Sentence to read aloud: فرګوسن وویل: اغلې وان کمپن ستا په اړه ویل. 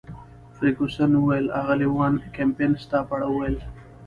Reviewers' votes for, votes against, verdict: 2, 0, accepted